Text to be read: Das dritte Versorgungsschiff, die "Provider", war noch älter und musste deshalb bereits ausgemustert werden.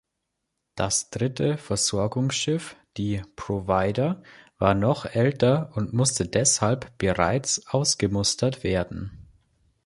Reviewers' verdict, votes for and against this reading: accepted, 2, 0